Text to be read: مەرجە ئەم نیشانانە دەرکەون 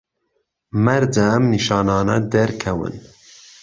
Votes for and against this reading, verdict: 2, 0, accepted